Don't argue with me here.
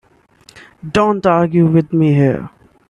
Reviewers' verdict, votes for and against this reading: accepted, 4, 0